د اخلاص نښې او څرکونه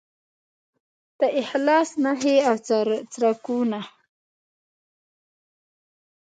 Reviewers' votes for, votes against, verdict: 1, 2, rejected